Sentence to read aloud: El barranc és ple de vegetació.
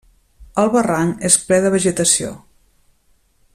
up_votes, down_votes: 3, 0